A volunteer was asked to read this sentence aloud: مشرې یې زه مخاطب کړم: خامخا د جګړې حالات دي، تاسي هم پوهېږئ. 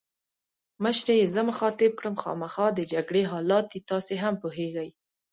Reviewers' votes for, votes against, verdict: 2, 0, accepted